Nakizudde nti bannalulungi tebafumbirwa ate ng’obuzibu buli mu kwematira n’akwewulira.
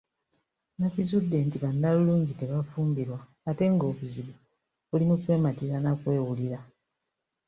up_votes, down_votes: 2, 0